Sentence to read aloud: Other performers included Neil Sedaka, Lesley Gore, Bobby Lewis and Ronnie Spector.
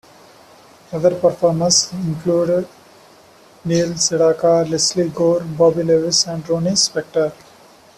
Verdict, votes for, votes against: accepted, 4, 0